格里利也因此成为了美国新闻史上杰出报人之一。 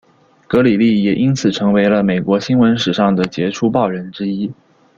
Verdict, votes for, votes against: rejected, 1, 2